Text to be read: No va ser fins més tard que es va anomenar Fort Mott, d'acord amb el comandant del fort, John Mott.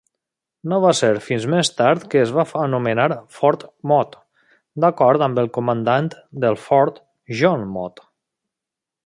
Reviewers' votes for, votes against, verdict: 0, 2, rejected